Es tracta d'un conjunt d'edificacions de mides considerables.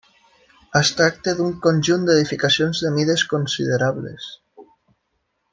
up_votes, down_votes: 3, 0